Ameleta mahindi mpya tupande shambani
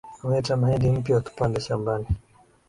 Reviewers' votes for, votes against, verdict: 2, 0, accepted